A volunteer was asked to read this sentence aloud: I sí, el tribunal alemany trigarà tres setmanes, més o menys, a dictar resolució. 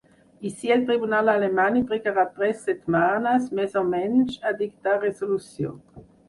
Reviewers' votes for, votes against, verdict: 2, 4, rejected